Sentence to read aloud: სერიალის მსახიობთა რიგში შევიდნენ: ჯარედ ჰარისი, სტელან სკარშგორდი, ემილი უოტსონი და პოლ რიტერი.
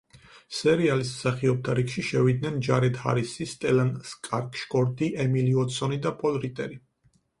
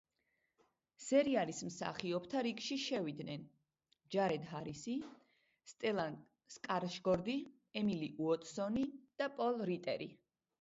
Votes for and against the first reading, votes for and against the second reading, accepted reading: 0, 4, 2, 0, second